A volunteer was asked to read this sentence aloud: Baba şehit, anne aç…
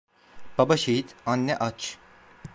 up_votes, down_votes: 2, 0